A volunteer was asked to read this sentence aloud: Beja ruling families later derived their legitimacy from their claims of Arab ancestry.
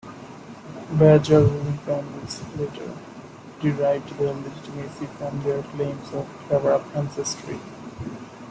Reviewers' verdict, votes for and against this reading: rejected, 0, 2